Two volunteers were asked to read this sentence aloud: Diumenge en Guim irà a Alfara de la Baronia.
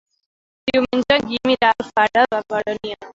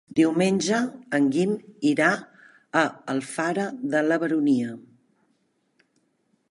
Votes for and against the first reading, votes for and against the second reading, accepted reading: 0, 2, 4, 1, second